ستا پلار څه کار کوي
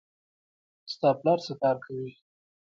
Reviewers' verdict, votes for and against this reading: rejected, 1, 2